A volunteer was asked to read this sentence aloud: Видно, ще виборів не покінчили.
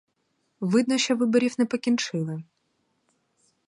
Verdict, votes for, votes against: rejected, 2, 2